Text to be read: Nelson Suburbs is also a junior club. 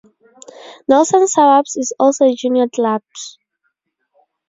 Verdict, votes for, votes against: rejected, 0, 2